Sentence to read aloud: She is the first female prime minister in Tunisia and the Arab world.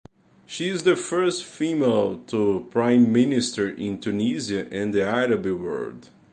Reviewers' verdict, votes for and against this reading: rejected, 0, 2